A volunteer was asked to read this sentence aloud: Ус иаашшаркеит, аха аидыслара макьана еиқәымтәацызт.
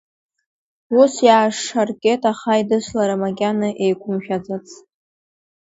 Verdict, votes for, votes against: rejected, 1, 2